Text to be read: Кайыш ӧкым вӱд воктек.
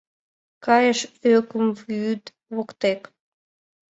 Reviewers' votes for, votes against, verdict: 2, 0, accepted